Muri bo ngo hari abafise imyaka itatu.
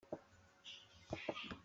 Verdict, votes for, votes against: rejected, 0, 2